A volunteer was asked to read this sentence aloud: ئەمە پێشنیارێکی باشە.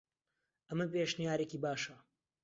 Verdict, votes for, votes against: accepted, 2, 0